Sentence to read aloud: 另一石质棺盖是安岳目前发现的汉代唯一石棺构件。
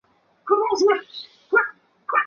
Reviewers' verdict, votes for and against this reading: rejected, 2, 2